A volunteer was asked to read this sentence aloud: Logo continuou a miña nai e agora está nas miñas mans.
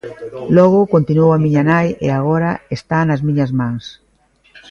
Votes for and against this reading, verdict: 0, 2, rejected